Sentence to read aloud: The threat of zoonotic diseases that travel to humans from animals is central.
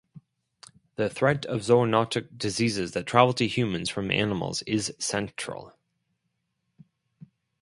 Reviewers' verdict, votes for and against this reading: accepted, 4, 0